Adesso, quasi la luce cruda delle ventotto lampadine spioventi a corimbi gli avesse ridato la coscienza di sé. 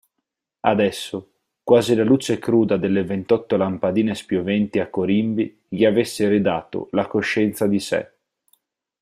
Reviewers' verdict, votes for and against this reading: accepted, 4, 0